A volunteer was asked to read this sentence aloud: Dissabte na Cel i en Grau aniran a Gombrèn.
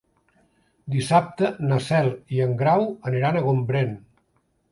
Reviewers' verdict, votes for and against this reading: accepted, 3, 0